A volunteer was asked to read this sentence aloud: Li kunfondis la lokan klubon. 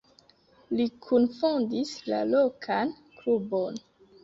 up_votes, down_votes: 1, 2